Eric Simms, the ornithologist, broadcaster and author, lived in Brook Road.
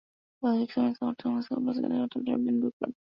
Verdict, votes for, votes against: rejected, 0, 2